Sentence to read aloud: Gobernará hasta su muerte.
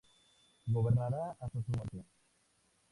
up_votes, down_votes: 2, 0